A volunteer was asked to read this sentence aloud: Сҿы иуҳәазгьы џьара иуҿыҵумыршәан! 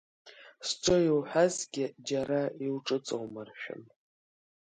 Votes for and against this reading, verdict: 2, 0, accepted